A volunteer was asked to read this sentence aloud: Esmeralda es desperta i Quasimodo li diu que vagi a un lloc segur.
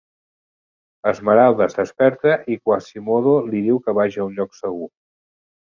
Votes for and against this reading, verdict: 1, 2, rejected